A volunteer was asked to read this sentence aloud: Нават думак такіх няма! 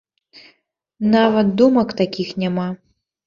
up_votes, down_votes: 2, 0